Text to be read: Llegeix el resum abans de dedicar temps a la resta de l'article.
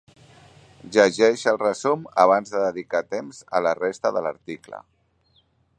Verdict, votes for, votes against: accepted, 4, 1